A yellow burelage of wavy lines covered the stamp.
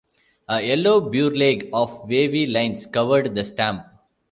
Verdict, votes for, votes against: rejected, 1, 2